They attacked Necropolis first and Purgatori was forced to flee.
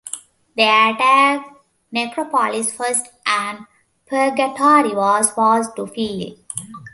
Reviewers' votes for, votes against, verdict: 2, 1, accepted